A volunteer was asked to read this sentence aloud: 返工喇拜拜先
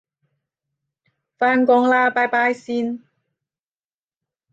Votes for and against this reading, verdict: 5, 10, rejected